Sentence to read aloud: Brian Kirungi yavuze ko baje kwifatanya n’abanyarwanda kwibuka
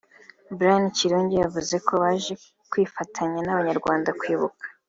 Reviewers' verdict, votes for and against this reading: accepted, 3, 0